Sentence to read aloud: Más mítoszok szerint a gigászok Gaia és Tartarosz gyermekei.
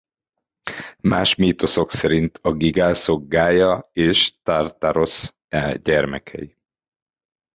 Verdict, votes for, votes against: rejected, 0, 3